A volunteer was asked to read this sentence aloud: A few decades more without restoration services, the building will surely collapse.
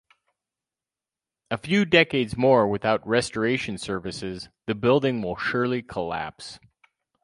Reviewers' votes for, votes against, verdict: 4, 0, accepted